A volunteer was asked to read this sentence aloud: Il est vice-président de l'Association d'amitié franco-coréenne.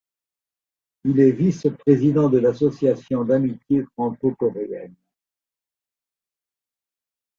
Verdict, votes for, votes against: accepted, 2, 0